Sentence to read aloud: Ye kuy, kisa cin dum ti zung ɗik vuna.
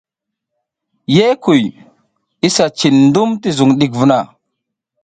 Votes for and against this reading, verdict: 2, 0, accepted